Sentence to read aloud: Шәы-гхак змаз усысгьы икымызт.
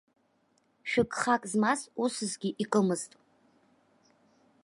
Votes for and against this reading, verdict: 2, 0, accepted